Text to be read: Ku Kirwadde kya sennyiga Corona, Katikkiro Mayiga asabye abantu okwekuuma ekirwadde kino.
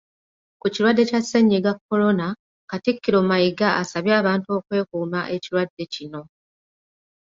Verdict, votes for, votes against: rejected, 1, 2